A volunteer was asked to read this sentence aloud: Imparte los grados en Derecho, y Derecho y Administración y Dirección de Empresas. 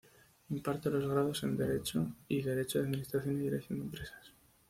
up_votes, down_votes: 2, 0